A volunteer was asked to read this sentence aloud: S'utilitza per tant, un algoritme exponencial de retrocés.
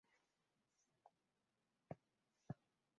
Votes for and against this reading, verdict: 0, 2, rejected